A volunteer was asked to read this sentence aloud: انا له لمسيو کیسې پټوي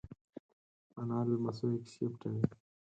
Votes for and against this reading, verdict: 2, 4, rejected